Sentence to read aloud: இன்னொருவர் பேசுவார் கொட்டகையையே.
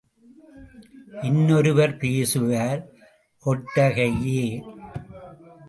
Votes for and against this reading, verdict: 0, 2, rejected